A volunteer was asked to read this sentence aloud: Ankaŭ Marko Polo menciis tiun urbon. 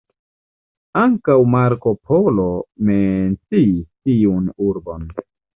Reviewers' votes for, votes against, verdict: 0, 2, rejected